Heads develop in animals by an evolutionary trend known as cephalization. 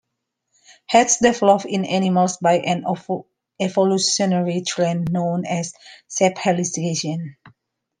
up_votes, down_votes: 1, 2